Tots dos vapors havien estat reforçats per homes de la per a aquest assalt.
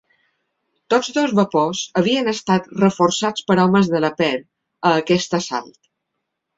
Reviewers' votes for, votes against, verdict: 2, 0, accepted